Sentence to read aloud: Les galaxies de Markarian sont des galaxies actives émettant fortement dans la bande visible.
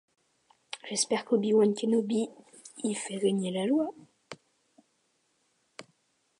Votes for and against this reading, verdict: 0, 2, rejected